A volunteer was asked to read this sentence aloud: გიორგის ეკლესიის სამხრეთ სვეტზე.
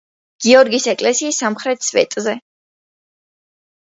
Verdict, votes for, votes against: accepted, 2, 0